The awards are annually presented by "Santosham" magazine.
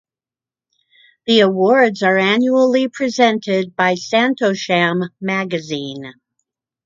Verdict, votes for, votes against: accepted, 2, 0